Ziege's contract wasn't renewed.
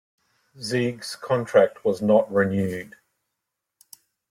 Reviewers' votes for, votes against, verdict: 1, 2, rejected